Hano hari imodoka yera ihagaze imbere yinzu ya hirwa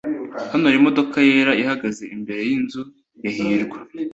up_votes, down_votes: 2, 0